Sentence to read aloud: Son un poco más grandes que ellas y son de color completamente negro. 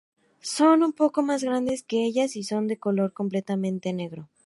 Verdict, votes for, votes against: accepted, 2, 0